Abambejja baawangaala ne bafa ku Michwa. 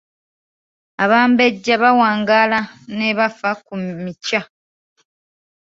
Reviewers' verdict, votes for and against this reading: rejected, 1, 2